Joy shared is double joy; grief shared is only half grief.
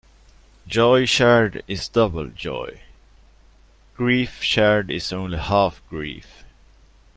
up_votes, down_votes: 2, 0